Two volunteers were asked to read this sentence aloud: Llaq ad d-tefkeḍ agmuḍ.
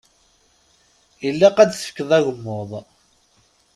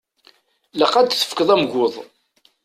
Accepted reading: first